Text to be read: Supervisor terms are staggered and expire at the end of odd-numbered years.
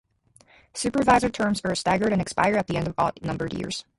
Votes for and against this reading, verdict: 2, 2, rejected